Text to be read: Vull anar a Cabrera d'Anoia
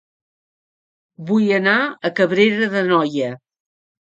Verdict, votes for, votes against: accepted, 3, 0